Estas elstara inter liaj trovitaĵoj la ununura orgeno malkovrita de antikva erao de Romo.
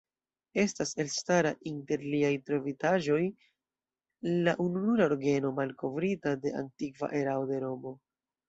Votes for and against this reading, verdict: 2, 0, accepted